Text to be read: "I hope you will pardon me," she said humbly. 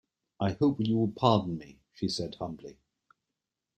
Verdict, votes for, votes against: accepted, 2, 1